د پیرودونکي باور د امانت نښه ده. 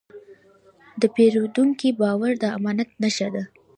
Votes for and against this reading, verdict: 1, 2, rejected